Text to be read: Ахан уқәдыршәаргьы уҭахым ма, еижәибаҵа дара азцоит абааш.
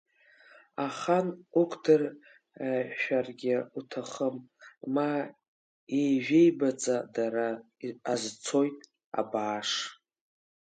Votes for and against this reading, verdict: 0, 2, rejected